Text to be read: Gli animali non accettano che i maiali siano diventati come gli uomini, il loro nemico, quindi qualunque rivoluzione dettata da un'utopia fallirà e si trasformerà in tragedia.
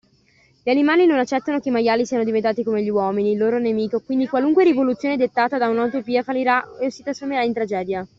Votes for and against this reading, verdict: 2, 0, accepted